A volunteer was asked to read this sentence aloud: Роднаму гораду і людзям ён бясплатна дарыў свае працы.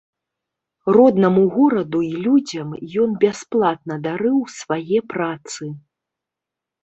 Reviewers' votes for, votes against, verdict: 2, 0, accepted